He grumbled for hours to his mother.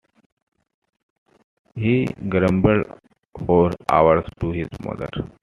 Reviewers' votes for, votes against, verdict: 2, 1, accepted